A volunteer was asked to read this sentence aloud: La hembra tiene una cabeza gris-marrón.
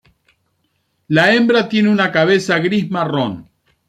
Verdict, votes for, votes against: accepted, 2, 0